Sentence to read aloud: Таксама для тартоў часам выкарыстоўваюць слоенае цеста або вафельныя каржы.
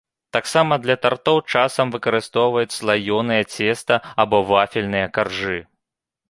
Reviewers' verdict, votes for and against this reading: rejected, 0, 2